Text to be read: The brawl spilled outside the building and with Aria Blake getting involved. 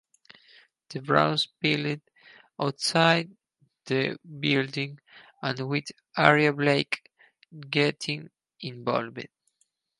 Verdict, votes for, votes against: rejected, 0, 4